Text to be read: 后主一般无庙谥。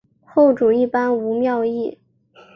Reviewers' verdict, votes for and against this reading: accepted, 2, 0